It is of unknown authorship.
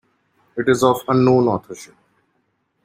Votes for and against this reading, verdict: 2, 1, accepted